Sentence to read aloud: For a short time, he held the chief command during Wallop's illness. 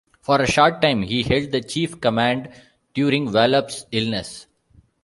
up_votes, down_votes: 2, 0